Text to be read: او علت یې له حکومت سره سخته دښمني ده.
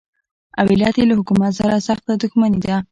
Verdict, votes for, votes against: accepted, 2, 0